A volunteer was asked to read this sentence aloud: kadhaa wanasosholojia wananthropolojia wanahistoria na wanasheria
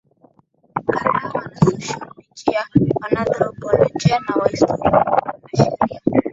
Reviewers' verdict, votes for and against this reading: accepted, 2, 0